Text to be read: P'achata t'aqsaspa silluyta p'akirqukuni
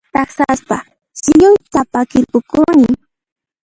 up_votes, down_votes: 1, 2